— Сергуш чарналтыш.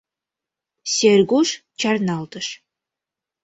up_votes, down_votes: 2, 0